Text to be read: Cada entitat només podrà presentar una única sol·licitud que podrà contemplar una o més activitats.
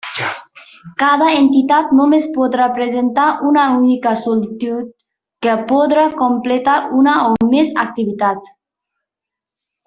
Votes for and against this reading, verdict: 0, 2, rejected